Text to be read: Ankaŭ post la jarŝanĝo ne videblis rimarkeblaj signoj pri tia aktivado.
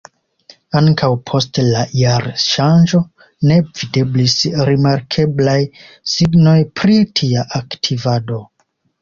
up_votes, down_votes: 2, 0